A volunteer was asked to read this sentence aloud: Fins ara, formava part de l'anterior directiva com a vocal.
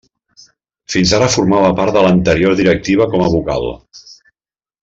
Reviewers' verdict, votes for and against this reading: accepted, 3, 0